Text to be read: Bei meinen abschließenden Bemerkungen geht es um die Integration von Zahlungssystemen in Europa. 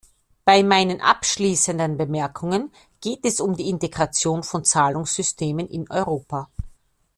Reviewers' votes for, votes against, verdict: 2, 0, accepted